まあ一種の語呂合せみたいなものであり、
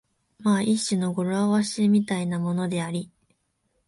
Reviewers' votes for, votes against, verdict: 1, 2, rejected